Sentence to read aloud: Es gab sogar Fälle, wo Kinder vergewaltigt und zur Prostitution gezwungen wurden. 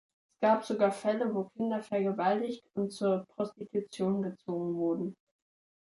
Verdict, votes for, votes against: rejected, 1, 2